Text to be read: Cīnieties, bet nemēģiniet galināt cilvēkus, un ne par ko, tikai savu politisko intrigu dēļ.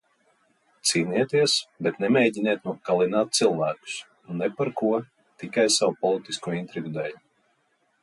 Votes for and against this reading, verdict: 0, 2, rejected